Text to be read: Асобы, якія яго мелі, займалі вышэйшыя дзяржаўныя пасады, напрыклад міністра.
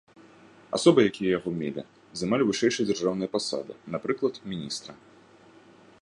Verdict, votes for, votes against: accepted, 3, 0